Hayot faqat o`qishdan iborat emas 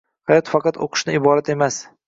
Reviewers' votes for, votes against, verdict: 0, 2, rejected